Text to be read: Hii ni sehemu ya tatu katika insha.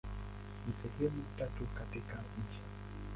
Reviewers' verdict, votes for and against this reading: rejected, 0, 2